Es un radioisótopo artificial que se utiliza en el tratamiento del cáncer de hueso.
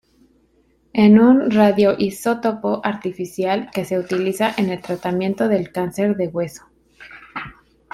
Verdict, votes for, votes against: rejected, 1, 2